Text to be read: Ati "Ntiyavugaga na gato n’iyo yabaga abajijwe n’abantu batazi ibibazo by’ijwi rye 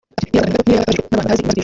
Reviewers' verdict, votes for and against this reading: rejected, 1, 2